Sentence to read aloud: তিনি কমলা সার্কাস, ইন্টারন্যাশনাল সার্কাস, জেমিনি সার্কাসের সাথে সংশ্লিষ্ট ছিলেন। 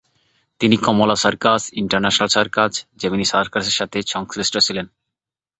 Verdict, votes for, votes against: accepted, 2, 0